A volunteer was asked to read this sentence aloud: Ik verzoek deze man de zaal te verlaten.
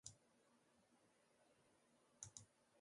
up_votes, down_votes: 0, 2